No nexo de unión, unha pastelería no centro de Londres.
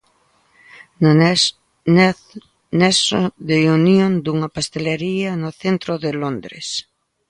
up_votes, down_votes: 0, 2